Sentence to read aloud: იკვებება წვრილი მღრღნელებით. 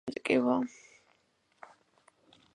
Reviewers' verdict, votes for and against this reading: rejected, 0, 2